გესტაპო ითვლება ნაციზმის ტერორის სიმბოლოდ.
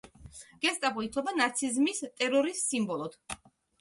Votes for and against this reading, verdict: 2, 0, accepted